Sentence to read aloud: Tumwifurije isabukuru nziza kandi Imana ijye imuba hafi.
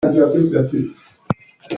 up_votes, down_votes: 0, 2